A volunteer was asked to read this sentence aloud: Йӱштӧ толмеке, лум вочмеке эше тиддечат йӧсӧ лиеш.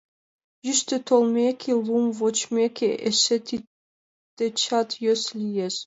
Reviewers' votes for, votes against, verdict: 2, 0, accepted